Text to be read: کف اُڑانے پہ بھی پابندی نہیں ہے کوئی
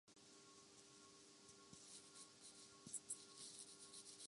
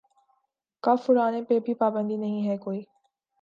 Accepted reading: second